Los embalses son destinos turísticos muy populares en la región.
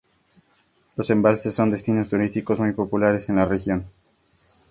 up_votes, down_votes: 2, 0